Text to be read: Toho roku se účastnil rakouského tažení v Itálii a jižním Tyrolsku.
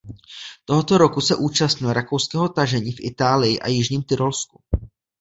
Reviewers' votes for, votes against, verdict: 1, 2, rejected